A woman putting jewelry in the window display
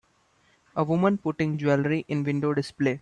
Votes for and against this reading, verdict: 0, 2, rejected